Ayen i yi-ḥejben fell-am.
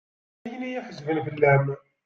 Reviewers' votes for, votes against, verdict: 2, 1, accepted